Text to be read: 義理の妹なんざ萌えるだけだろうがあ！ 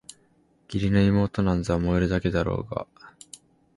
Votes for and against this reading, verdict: 2, 0, accepted